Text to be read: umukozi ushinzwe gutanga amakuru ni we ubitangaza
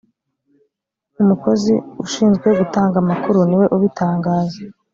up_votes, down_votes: 2, 0